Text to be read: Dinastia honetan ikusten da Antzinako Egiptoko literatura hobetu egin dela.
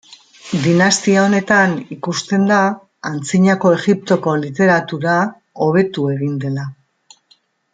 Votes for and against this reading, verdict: 2, 0, accepted